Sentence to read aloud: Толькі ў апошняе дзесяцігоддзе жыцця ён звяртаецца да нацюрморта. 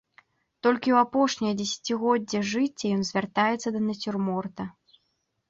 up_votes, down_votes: 1, 2